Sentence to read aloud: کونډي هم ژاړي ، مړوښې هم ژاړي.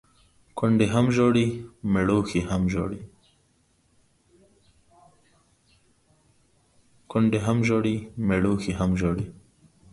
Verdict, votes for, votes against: rejected, 1, 2